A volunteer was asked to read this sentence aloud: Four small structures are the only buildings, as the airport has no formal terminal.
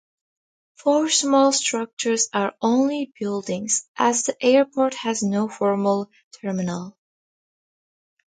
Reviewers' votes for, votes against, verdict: 2, 0, accepted